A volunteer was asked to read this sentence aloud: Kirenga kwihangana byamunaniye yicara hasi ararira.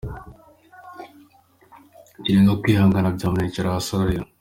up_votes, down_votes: 2, 1